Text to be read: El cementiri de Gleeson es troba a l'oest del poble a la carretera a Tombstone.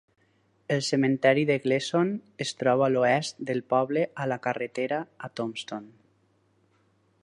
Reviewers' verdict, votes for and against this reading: rejected, 2, 4